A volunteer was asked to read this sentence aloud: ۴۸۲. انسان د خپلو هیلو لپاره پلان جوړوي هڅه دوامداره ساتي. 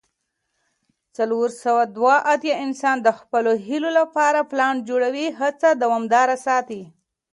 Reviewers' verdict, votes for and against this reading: rejected, 0, 2